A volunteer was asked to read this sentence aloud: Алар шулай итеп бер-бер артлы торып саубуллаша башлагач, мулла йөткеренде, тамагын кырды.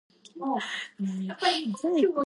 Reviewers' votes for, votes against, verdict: 0, 2, rejected